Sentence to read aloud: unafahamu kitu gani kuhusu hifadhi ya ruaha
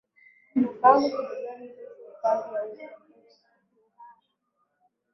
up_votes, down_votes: 0, 2